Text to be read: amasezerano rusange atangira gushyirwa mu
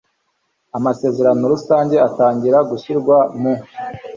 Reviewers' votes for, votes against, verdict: 2, 0, accepted